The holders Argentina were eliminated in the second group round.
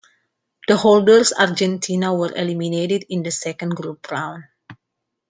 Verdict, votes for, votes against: accepted, 2, 0